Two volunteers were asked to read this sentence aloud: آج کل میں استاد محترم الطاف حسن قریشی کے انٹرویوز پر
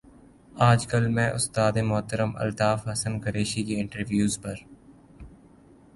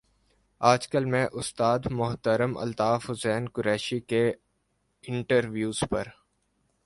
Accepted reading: first